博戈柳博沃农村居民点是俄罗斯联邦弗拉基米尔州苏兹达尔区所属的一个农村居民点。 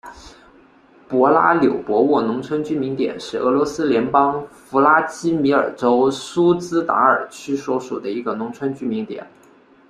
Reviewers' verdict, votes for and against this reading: rejected, 1, 2